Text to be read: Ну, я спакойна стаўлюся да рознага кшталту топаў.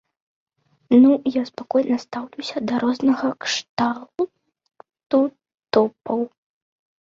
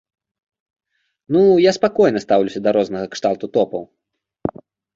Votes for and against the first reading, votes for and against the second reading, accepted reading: 0, 2, 2, 0, second